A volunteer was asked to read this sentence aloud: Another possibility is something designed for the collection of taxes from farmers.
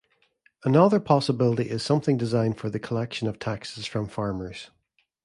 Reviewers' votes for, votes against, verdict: 2, 0, accepted